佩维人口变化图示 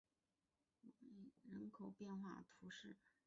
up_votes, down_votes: 2, 4